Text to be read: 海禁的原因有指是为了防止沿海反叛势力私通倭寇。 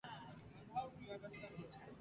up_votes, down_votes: 0, 2